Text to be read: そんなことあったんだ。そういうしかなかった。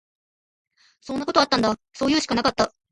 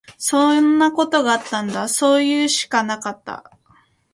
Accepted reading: second